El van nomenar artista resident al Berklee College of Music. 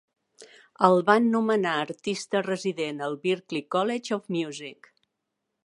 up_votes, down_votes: 2, 0